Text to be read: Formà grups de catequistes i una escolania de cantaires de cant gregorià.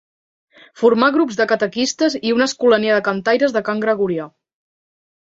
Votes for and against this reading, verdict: 2, 0, accepted